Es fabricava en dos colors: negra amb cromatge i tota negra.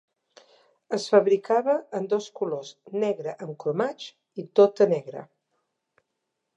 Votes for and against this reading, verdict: 0, 2, rejected